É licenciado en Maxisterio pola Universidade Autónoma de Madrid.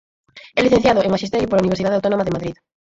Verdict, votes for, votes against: accepted, 4, 0